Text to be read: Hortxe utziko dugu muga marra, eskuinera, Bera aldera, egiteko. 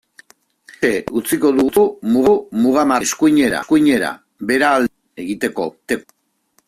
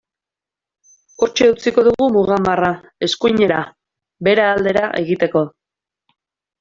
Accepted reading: second